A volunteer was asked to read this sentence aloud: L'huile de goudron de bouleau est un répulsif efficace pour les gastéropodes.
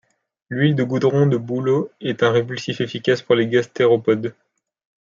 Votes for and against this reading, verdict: 2, 0, accepted